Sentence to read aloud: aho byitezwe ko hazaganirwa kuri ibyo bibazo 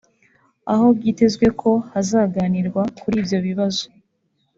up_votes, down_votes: 2, 0